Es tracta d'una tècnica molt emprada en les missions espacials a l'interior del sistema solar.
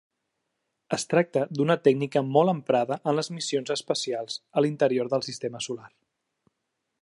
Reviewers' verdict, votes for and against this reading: accepted, 2, 0